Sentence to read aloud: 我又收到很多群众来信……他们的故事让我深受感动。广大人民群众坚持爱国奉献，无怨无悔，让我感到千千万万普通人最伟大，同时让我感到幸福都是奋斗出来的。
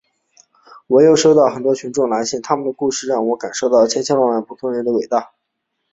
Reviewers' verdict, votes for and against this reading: rejected, 0, 2